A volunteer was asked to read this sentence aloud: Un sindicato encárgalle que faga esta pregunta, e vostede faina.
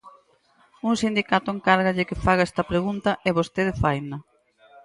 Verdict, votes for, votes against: accepted, 4, 0